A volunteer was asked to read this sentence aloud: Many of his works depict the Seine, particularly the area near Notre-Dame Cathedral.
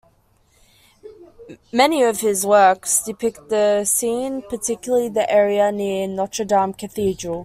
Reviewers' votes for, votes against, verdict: 2, 0, accepted